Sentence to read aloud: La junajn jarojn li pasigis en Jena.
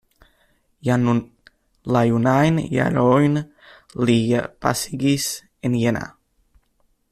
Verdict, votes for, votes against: rejected, 0, 2